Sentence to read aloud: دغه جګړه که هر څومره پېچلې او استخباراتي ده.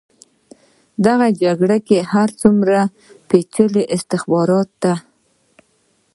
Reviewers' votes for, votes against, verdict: 2, 0, accepted